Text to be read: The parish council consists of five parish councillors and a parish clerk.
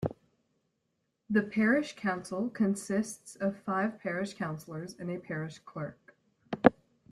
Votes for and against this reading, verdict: 2, 0, accepted